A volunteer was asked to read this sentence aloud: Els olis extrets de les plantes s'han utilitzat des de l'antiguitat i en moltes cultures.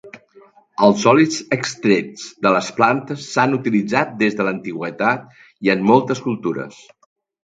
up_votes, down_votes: 1, 2